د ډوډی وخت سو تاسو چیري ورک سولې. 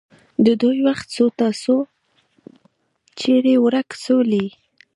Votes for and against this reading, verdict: 2, 1, accepted